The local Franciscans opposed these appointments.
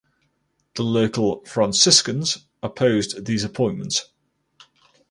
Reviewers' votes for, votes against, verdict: 4, 0, accepted